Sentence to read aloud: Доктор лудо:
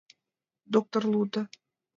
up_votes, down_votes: 2, 0